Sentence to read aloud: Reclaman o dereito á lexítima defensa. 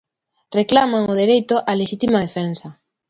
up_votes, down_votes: 2, 0